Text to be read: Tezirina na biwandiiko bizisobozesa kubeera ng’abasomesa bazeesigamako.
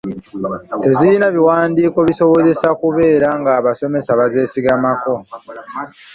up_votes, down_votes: 1, 2